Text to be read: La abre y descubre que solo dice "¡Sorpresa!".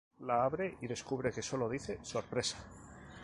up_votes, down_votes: 6, 0